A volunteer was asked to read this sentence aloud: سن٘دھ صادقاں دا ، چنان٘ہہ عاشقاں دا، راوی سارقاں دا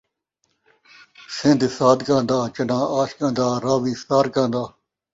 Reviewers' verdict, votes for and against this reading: accepted, 2, 0